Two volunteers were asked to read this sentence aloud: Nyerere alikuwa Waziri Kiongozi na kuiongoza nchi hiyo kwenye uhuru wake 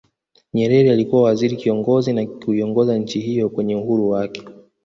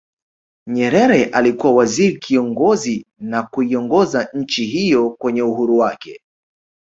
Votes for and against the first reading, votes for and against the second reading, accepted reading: 1, 2, 2, 0, second